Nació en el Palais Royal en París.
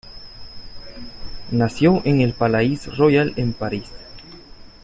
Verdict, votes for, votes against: accepted, 2, 0